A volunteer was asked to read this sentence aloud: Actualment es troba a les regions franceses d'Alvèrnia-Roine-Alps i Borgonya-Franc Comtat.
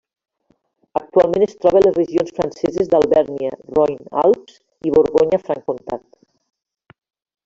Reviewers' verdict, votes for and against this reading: accepted, 2, 1